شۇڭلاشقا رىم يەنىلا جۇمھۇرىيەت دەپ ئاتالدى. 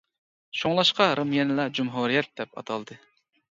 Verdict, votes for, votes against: accepted, 2, 0